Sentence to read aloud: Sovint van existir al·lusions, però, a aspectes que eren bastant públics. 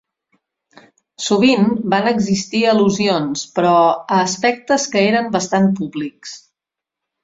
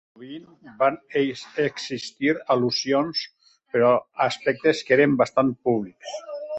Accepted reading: first